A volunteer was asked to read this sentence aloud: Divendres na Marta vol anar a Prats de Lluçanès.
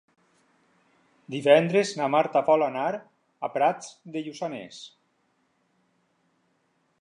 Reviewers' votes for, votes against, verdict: 6, 0, accepted